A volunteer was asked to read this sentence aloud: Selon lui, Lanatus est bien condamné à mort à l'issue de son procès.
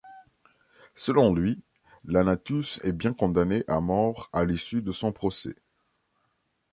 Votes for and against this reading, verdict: 2, 0, accepted